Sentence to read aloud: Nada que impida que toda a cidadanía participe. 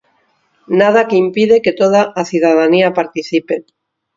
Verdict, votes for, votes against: rejected, 2, 4